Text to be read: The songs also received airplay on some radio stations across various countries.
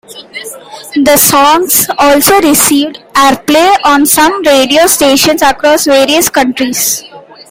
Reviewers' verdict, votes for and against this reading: accepted, 2, 1